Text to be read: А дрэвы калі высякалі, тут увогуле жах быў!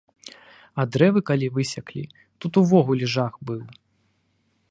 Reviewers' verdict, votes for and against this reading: rejected, 0, 2